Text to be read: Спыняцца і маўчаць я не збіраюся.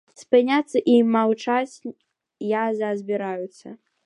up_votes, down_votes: 0, 2